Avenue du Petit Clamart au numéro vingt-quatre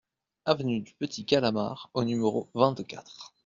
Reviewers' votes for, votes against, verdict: 1, 2, rejected